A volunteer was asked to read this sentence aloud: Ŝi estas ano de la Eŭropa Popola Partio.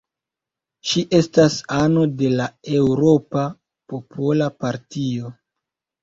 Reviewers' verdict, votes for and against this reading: rejected, 1, 2